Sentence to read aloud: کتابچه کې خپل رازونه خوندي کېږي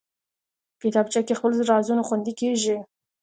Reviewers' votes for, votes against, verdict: 1, 2, rejected